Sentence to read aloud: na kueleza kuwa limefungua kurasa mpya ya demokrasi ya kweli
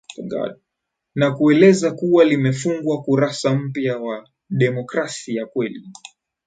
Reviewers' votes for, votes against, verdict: 4, 0, accepted